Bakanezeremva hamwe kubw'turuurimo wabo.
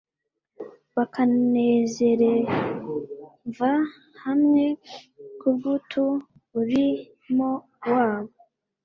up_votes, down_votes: 1, 2